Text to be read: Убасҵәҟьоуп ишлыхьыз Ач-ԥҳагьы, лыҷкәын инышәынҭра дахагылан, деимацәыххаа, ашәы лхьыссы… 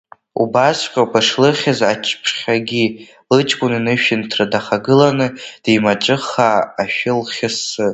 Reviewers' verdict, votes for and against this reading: rejected, 1, 2